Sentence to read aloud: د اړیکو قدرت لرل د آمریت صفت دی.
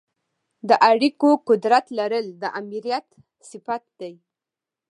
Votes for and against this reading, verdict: 2, 0, accepted